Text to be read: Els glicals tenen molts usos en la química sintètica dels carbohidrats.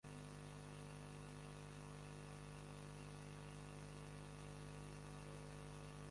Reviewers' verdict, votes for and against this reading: rejected, 0, 2